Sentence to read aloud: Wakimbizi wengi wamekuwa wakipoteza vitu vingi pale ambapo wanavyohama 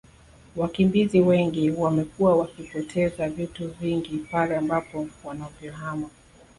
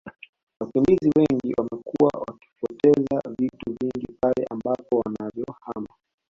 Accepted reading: first